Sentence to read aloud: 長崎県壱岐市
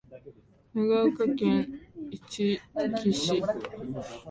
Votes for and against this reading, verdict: 2, 0, accepted